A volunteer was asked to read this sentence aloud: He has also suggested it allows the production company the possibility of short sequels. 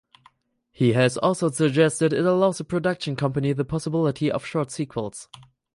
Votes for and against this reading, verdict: 4, 0, accepted